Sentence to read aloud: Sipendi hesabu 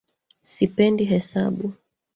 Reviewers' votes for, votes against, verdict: 2, 1, accepted